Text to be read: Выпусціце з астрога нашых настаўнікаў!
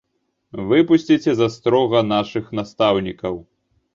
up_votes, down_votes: 2, 0